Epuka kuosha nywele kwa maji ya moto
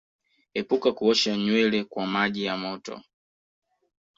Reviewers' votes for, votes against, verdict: 2, 0, accepted